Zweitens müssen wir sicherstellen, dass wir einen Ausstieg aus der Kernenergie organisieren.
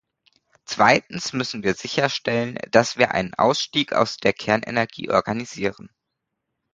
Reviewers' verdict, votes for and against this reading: accepted, 2, 0